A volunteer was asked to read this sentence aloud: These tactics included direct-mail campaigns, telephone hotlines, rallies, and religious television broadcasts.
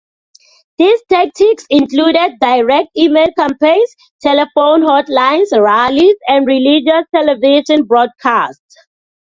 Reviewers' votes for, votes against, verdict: 2, 1, accepted